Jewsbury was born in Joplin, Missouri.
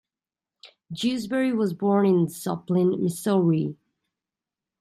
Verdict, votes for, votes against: rejected, 0, 2